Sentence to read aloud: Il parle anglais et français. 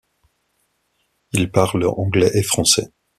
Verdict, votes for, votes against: accepted, 2, 0